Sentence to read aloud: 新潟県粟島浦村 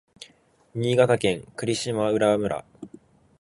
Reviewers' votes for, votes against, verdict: 3, 0, accepted